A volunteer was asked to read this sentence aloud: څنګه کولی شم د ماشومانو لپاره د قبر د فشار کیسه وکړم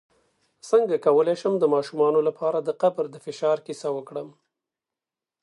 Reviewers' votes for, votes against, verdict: 2, 0, accepted